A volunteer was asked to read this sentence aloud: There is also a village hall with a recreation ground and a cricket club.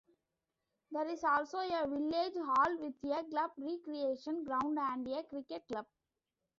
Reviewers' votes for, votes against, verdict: 0, 2, rejected